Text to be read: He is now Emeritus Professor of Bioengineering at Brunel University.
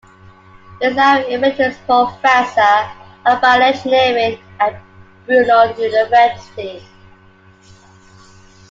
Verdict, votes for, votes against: rejected, 1, 2